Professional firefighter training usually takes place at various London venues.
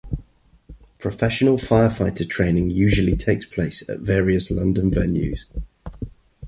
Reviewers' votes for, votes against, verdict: 2, 0, accepted